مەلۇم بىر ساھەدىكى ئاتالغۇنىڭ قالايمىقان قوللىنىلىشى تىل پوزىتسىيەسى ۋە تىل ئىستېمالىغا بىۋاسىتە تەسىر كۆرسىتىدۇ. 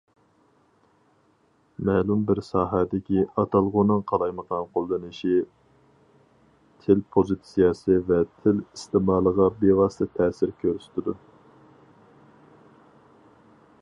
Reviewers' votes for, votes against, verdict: 2, 2, rejected